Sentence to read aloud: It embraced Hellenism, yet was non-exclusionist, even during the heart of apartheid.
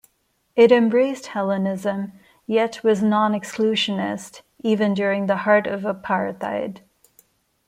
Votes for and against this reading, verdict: 2, 0, accepted